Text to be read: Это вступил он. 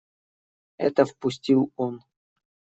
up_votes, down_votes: 1, 2